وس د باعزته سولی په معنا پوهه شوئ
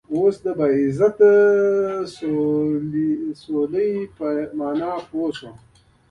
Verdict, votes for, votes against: rejected, 1, 2